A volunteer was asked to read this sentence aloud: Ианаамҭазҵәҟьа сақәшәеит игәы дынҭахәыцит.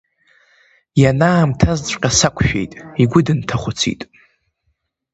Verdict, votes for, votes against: accepted, 3, 0